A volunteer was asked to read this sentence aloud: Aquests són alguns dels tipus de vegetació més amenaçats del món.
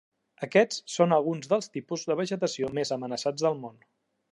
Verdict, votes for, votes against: accepted, 3, 0